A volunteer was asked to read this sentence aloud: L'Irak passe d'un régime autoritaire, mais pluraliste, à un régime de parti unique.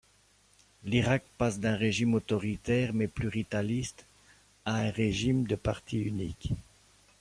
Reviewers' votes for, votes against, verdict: 0, 2, rejected